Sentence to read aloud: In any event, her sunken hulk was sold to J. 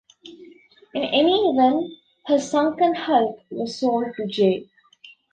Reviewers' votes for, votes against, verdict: 2, 0, accepted